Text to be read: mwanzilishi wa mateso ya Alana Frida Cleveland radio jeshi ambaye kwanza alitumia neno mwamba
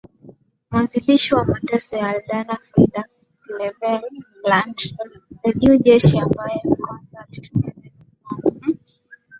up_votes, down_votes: 0, 2